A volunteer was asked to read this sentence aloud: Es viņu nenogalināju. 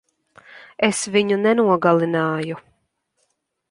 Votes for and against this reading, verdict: 2, 0, accepted